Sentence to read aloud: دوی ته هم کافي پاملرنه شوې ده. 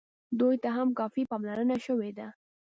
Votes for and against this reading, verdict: 2, 0, accepted